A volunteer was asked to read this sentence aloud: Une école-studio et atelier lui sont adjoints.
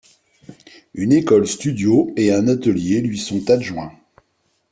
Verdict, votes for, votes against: rejected, 0, 2